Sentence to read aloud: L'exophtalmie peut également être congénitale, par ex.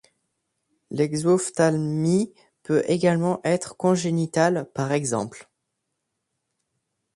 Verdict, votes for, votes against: accepted, 2, 0